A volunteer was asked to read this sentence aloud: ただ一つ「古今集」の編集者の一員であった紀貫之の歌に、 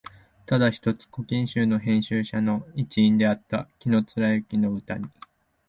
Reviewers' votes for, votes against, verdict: 3, 0, accepted